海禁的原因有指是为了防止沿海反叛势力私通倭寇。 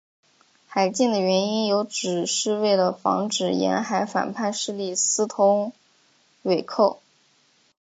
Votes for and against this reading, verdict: 4, 1, accepted